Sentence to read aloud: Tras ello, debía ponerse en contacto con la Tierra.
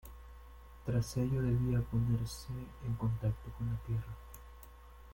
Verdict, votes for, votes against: accepted, 2, 1